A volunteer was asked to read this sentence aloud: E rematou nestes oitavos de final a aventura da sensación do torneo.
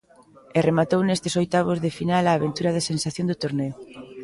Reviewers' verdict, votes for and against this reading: rejected, 0, 2